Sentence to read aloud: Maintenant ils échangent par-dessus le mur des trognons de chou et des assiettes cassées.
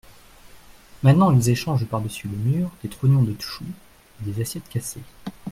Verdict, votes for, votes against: rejected, 1, 2